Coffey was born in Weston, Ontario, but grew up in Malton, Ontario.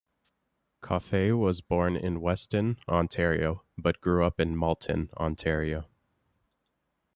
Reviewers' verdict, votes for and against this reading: accepted, 2, 0